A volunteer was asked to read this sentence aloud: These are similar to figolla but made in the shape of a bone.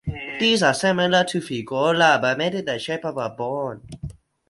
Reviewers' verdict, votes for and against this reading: accepted, 4, 0